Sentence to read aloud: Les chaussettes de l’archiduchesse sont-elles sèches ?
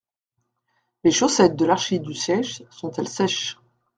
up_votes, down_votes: 1, 2